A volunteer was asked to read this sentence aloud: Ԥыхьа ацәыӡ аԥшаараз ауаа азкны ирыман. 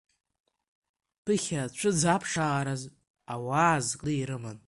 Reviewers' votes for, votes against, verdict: 2, 0, accepted